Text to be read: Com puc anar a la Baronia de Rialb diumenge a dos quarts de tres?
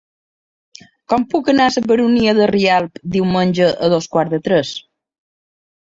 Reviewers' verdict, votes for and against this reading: rejected, 0, 2